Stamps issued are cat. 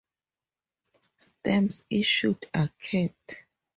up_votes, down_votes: 4, 0